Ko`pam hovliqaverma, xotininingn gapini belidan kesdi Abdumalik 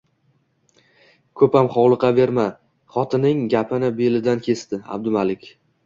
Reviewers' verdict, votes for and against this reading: accepted, 2, 0